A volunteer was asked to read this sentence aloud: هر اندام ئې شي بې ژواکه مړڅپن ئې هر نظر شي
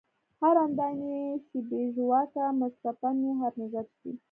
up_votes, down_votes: 2, 0